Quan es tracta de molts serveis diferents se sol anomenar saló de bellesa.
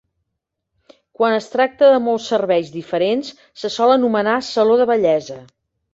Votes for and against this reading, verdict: 3, 0, accepted